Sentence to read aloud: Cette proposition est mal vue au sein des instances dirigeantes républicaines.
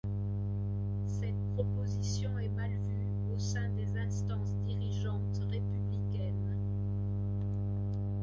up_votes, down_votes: 2, 1